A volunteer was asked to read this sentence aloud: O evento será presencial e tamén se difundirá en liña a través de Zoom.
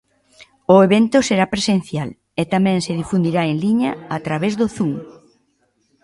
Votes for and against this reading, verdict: 0, 2, rejected